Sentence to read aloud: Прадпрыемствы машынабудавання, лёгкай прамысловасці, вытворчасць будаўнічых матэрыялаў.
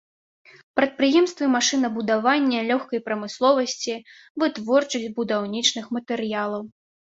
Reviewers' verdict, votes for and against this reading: rejected, 1, 2